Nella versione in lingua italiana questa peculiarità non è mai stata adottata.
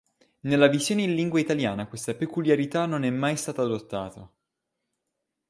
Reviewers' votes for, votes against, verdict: 0, 2, rejected